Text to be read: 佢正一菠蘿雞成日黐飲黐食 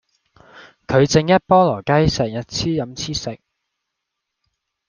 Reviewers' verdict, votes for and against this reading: accepted, 2, 0